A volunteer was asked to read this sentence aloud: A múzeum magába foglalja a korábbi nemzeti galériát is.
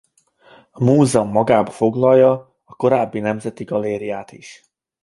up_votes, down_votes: 2, 0